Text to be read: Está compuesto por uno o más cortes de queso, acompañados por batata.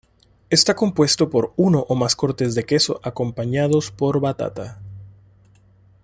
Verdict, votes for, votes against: accepted, 2, 0